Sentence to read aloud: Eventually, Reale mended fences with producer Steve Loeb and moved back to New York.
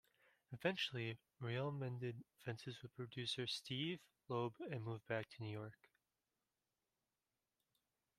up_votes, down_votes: 2, 0